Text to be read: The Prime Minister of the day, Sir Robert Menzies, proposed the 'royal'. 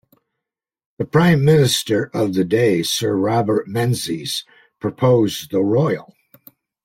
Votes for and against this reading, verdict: 2, 0, accepted